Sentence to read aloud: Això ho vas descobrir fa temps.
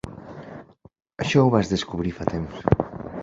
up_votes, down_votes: 2, 0